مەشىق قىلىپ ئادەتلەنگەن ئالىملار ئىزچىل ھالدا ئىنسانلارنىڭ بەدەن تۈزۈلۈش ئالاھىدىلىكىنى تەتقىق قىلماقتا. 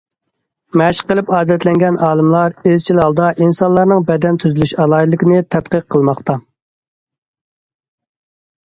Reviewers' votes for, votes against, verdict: 2, 0, accepted